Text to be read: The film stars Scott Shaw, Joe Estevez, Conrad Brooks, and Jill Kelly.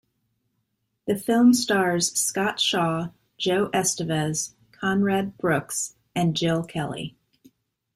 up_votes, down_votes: 2, 0